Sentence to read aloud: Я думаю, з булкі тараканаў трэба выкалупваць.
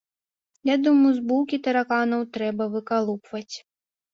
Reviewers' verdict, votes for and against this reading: accepted, 2, 0